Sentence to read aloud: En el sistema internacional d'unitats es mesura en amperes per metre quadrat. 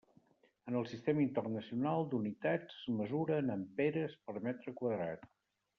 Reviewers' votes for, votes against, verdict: 2, 0, accepted